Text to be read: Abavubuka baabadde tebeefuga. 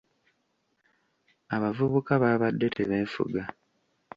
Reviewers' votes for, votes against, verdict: 2, 0, accepted